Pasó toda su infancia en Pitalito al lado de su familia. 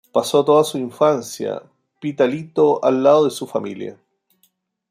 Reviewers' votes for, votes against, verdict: 0, 2, rejected